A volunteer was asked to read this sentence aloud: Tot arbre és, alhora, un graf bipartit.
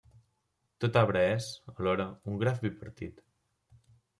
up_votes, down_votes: 0, 2